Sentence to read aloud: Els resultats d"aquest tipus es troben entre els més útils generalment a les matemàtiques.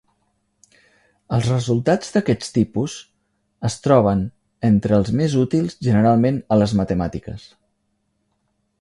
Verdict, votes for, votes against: rejected, 1, 2